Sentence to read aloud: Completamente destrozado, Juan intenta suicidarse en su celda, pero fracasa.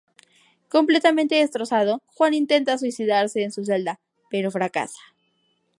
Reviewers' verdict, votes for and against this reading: rejected, 2, 2